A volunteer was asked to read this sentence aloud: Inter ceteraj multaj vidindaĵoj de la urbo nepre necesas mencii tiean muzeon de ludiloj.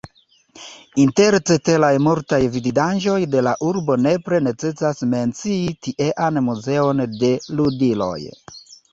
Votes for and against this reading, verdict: 2, 1, accepted